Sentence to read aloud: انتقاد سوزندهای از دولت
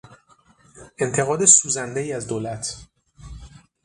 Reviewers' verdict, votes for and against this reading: accepted, 6, 0